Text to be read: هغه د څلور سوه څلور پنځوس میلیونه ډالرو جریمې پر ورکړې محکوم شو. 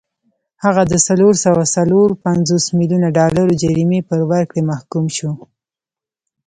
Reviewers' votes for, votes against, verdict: 0, 2, rejected